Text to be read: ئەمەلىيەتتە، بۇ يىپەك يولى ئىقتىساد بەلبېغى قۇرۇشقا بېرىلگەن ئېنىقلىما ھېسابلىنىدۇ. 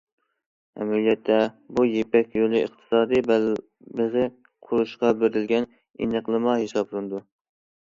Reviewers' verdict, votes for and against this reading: rejected, 0, 2